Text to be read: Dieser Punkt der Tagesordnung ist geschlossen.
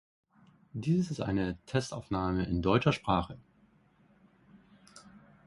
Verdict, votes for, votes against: rejected, 0, 2